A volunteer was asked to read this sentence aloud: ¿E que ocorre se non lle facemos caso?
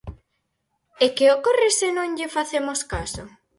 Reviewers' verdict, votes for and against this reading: accepted, 4, 0